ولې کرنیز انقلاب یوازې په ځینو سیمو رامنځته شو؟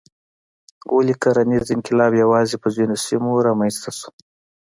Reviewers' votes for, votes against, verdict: 2, 0, accepted